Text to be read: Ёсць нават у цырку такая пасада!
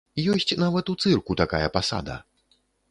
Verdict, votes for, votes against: accepted, 2, 0